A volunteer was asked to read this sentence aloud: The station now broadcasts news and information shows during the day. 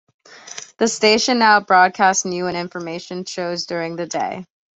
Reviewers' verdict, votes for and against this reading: rejected, 1, 2